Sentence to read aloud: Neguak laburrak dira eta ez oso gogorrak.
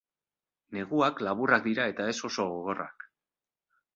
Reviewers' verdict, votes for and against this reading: accepted, 2, 1